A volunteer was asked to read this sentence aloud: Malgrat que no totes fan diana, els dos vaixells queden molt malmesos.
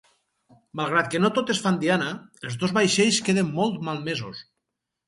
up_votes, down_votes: 2, 0